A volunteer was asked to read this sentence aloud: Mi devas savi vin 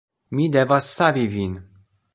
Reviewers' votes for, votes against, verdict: 2, 0, accepted